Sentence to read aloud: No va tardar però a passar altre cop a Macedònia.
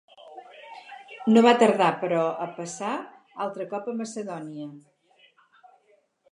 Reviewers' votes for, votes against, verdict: 0, 2, rejected